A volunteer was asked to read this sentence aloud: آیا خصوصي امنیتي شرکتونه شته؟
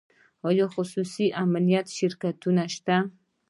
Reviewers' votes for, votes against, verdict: 1, 2, rejected